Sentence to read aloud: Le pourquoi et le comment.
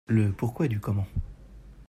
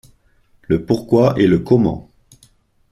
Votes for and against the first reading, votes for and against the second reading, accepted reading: 0, 2, 2, 0, second